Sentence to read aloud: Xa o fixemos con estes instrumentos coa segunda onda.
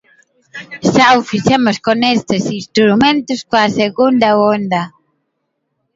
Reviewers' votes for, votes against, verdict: 1, 2, rejected